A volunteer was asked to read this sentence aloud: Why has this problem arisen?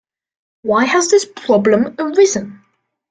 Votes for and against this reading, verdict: 2, 0, accepted